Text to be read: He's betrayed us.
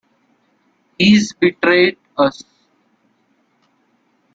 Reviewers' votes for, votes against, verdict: 2, 0, accepted